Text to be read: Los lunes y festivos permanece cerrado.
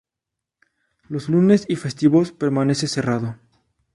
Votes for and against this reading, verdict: 0, 2, rejected